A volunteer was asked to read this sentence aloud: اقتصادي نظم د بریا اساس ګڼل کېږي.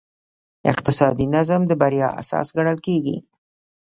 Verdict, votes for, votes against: accepted, 2, 0